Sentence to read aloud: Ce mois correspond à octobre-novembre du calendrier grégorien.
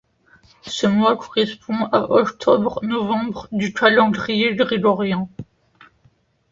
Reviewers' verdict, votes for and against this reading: accepted, 2, 0